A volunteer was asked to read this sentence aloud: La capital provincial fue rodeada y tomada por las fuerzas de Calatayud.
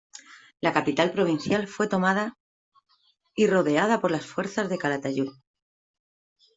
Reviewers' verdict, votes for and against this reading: rejected, 1, 2